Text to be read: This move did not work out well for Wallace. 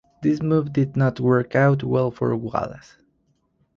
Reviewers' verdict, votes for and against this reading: accepted, 4, 0